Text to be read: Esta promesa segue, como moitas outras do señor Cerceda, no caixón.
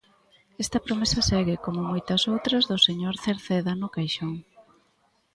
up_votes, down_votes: 2, 0